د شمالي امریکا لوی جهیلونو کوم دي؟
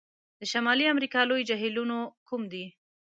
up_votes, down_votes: 2, 0